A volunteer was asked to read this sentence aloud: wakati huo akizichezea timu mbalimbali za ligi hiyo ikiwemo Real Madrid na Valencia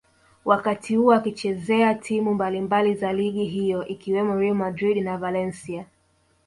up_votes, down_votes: 1, 2